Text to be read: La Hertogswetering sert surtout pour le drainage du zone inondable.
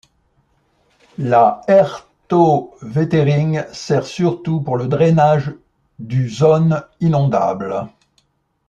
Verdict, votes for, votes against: rejected, 0, 2